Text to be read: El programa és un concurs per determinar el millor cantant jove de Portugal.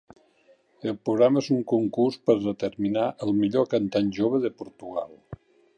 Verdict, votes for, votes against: accepted, 2, 0